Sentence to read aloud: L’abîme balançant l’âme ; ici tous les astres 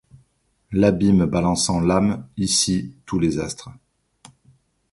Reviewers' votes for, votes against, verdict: 2, 0, accepted